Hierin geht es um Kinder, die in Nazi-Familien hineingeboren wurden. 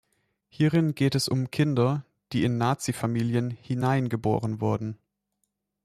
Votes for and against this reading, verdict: 2, 0, accepted